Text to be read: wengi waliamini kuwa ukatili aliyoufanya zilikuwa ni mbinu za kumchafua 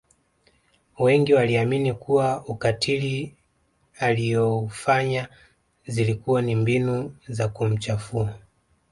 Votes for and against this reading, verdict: 2, 0, accepted